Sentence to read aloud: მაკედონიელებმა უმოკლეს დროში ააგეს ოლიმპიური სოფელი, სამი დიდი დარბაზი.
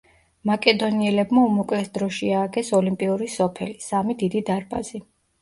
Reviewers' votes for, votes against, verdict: 2, 0, accepted